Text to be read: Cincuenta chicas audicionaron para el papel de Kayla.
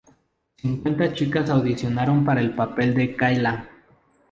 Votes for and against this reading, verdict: 2, 0, accepted